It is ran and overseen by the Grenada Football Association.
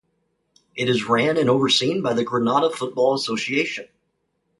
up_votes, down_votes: 2, 0